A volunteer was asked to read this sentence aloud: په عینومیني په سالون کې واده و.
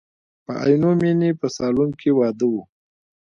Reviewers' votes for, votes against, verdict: 2, 1, accepted